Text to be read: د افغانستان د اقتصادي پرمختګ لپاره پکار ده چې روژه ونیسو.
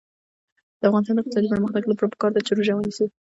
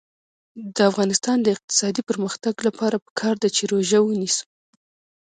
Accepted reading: first